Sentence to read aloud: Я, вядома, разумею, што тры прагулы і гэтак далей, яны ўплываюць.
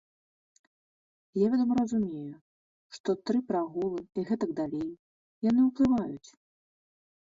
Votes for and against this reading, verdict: 2, 0, accepted